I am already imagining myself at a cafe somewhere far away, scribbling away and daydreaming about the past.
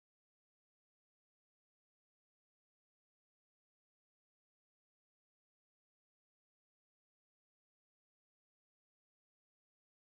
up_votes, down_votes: 1, 2